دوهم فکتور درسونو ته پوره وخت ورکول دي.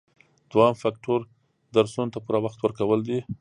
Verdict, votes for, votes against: accepted, 2, 0